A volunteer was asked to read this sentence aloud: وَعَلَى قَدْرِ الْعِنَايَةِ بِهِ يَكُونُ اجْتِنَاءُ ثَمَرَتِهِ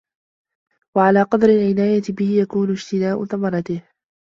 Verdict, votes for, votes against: accepted, 2, 0